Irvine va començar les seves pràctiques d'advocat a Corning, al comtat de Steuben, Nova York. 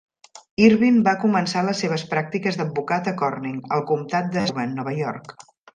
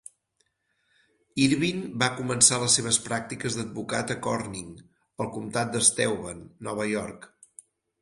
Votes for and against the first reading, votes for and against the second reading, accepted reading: 0, 2, 4, 0, second